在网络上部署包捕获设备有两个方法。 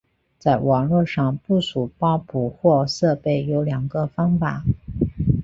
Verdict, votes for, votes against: accepted, 2, 0